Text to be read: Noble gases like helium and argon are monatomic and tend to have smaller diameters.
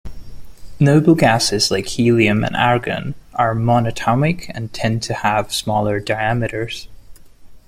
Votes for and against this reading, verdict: 2, 0, accepted